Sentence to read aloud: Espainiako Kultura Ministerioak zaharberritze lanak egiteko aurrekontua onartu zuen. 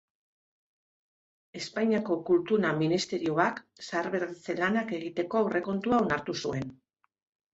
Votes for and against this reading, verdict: 1, 2, rejected